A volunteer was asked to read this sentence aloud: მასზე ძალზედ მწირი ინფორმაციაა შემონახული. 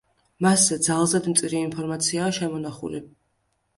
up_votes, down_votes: 2, 0